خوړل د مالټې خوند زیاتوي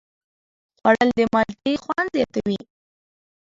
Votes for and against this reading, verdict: 0, 2, rejected